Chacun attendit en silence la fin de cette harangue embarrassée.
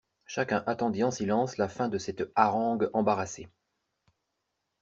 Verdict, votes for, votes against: accepted, 2, 0